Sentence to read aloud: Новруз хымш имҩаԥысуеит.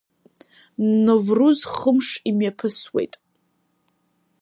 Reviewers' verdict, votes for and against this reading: accepted, 2, 0